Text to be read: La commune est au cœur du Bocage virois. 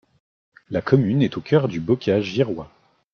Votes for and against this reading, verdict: 0, 2, rejected